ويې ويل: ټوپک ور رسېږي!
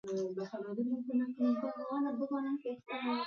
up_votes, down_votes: 1, 2